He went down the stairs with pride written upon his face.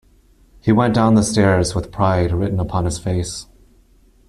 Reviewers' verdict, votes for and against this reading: accepted, 2, 0